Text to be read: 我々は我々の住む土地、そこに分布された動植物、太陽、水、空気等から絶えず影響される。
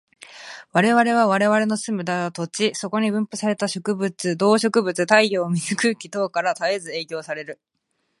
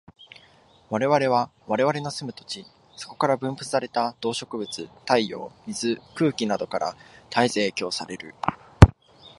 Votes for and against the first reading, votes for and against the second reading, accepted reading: 0, 2, 2, 0, second